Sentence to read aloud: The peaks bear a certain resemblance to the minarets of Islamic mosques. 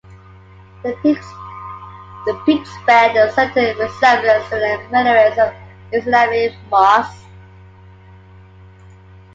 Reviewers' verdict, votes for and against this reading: rejected, 1, 2